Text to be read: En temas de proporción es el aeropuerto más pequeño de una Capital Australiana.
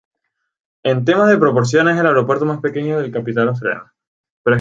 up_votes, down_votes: 0, 4